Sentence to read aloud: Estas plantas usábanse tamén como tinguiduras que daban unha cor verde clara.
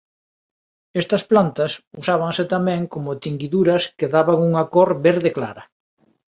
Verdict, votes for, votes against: accepted, 2, 0